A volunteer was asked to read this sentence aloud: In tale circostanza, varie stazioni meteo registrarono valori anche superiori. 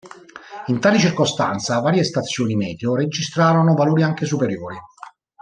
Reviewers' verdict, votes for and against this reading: accepted, 2, 1